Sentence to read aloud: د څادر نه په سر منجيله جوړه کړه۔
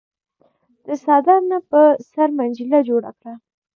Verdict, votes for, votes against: accepted, 2, 1